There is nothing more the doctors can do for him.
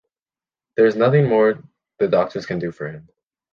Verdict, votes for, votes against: accepted, 2, 0